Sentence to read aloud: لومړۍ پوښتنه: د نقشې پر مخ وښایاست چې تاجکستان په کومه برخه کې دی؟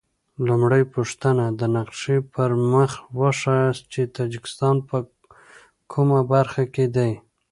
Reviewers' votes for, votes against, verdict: 2, 0, accepted